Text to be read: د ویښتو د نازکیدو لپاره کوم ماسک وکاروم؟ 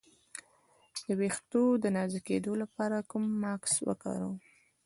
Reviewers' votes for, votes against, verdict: 1, 2, rejected